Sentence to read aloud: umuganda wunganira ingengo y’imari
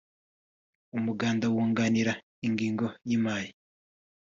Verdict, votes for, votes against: accepted, 2, 0